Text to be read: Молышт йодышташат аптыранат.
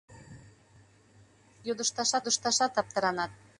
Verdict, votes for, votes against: rejected, 0, 2